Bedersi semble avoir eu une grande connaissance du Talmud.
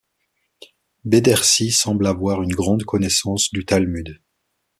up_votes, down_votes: 2, 0